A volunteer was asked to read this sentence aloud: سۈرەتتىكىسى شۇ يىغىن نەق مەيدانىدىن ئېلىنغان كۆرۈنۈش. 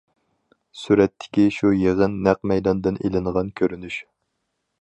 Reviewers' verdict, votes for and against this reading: rejected, 0, 4